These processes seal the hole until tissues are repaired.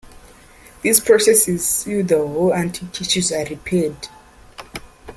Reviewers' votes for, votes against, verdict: 2, 1, accepted